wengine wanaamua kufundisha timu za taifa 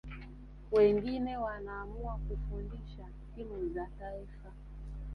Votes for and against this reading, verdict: 2, 1, accepted